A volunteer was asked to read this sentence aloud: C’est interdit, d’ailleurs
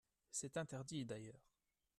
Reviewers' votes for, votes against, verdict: 2, 0, accepted